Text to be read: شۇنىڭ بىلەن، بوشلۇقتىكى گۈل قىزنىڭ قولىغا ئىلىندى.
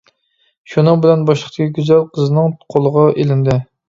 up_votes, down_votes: 0, 2